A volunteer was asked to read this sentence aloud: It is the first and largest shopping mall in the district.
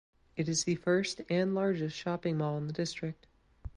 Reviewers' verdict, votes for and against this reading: accepted, 2, 0